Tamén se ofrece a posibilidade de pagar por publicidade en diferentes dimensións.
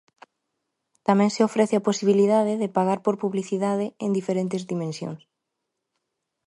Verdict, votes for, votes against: accepted, 2, 0